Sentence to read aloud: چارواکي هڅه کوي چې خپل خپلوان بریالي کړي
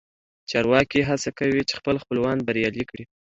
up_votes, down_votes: 2, 0